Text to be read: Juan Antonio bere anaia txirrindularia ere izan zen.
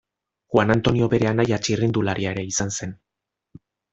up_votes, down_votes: 2, 0